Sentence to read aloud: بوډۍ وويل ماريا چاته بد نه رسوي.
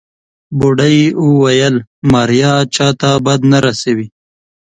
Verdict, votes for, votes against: accepted, 2, 0